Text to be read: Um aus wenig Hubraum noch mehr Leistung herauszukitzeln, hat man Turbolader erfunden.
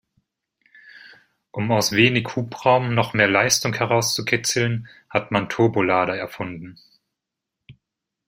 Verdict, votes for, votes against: accepted, 2, 0